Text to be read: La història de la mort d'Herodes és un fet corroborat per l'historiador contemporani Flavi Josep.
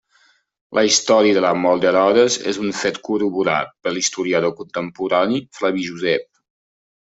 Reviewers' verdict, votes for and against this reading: accepted, 2, 1